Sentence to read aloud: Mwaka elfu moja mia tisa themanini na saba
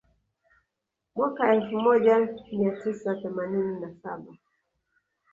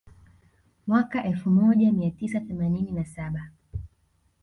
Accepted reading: second